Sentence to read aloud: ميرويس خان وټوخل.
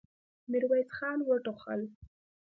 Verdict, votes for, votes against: accepted, 2, 0